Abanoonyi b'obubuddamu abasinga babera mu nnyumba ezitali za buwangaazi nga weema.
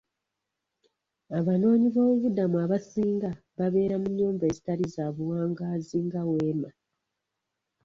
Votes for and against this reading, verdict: 1, 2, rejected